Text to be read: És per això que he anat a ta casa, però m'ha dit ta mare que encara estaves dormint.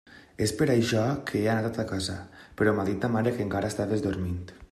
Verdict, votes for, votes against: accepted, 2, 0